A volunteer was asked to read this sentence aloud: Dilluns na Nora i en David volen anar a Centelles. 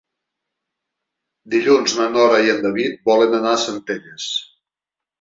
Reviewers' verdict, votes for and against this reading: accepted, 3, 0